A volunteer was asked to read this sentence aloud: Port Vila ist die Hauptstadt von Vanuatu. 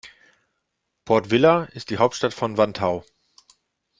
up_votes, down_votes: 0, 2